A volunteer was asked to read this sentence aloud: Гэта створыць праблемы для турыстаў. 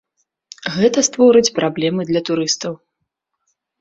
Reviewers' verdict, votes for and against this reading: accepted, 2, 0